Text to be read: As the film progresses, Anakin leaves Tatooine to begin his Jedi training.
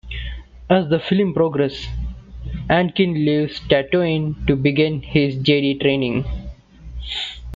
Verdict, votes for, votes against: rejected, 1, 2